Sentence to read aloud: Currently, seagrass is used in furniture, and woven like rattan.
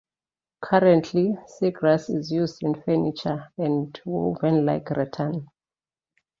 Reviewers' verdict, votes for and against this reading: accepted, 3, 0